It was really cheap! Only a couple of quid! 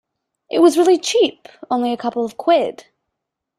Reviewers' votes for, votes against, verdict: 2, 0, accepted